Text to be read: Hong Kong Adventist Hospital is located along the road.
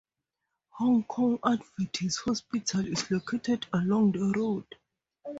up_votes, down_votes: 2, 2